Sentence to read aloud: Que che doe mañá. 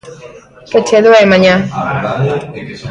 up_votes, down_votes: 0, 2